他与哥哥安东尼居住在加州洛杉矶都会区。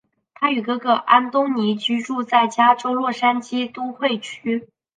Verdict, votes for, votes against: accepted, 4, 0